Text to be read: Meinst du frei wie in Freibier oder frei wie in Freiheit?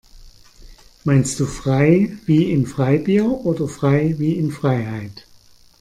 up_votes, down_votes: 2, 0